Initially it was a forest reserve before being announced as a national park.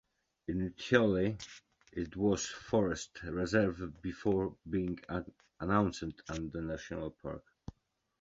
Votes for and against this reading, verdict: 2, 1, accepted